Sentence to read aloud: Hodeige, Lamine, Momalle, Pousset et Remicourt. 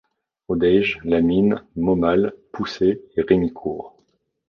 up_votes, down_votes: 1, 2